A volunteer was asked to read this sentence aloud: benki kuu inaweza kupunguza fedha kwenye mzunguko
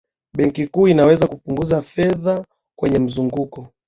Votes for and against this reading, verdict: 12, 1, accepted